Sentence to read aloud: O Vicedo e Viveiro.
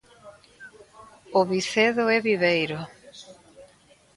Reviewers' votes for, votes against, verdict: 2, 0, accepted